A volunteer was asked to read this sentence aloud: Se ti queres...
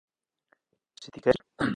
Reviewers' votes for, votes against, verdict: 0, 2, rejected